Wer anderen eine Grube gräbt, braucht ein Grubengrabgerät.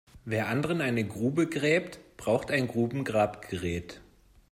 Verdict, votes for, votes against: accepted, 2, 0